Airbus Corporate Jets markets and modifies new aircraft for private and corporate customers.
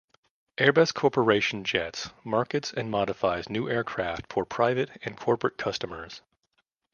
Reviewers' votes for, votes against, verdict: 0, 2, rejected